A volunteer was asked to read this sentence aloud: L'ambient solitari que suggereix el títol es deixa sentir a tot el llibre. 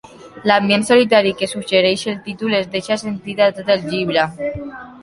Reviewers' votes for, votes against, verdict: 2, 0, accepted